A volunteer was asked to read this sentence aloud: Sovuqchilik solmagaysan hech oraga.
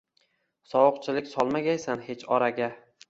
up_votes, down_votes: 2, 0